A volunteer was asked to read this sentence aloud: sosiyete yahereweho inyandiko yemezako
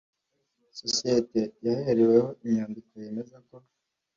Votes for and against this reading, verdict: 2, 1, accepted